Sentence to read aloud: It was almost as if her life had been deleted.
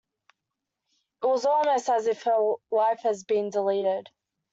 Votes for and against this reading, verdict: 2, 1, accepted